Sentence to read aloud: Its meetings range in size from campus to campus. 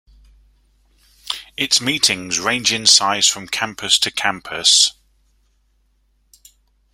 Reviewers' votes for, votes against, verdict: 2, 0, accepted